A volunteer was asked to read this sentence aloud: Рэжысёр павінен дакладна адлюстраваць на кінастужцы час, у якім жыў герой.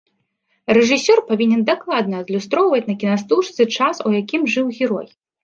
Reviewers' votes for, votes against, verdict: 1, 2, rejected